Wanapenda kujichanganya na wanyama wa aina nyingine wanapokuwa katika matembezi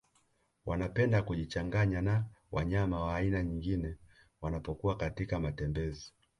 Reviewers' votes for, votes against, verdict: 0, 2, rejected